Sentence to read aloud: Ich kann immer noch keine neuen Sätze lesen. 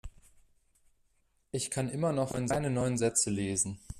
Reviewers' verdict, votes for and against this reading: rejected, 0, 2